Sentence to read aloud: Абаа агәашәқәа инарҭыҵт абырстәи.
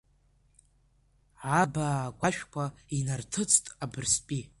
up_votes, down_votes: 0, 2